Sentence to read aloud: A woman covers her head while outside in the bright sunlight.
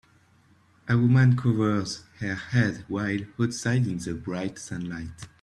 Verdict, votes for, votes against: accepted, 2, 0